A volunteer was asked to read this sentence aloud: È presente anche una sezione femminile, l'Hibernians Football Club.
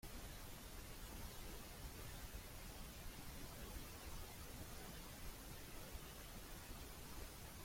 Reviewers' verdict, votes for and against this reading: rejected, 0, 2